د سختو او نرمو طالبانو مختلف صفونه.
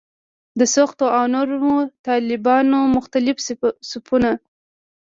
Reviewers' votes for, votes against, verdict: 2, 0, accepted